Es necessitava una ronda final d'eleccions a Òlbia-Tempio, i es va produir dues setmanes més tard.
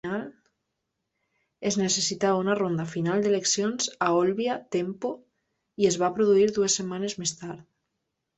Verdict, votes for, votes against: rejected, 0, 2